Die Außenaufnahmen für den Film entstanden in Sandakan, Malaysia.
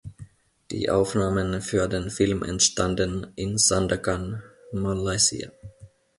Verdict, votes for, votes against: rejected, 1, 2